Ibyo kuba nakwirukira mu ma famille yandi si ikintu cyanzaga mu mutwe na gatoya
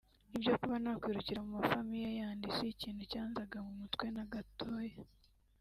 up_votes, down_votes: 3, 1